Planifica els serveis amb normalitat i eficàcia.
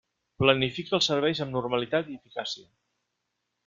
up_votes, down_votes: 1, 2